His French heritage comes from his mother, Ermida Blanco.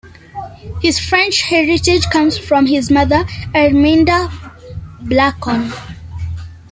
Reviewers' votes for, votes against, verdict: 1, 2, rejected